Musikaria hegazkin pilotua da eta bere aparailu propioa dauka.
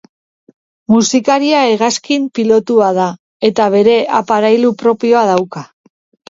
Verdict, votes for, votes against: accepted, 2, 0